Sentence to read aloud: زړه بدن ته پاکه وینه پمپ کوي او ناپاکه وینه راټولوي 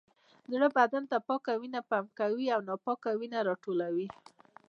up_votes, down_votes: 2, 0